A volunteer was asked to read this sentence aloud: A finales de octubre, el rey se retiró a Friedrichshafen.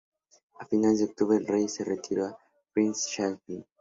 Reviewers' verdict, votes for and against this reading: rejected, 0, 2